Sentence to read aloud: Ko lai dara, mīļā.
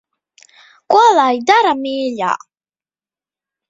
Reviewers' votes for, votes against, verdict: 2, 0, accepted